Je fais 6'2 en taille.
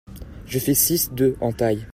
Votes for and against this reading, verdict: 0, 2, rejected